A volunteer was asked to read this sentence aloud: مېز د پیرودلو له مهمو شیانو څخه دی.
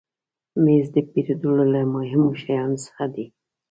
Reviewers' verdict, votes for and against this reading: accepted, 2, 1